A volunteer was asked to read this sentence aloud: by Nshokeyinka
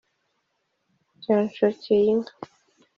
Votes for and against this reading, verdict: 2, 0, accepted